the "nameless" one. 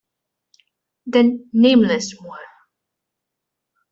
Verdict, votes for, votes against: accepted, 2, 0